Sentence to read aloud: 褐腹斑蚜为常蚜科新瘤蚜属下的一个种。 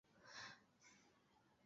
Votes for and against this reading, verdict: 1, 3, rejected